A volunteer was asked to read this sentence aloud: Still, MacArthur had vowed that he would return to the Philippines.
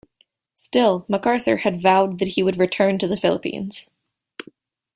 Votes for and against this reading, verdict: 2, 0, accepted